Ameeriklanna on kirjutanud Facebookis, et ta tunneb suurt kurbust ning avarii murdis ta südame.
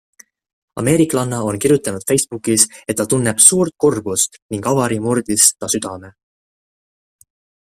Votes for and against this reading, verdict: 2, 0, accepted